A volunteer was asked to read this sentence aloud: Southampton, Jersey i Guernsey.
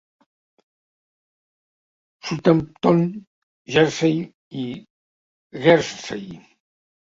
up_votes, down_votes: 2, 0